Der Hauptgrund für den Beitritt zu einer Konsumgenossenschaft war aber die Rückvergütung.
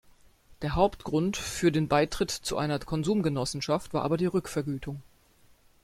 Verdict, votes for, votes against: accepted, 2, 1